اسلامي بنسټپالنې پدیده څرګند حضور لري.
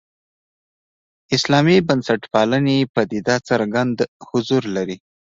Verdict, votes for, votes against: accepted, 2, 0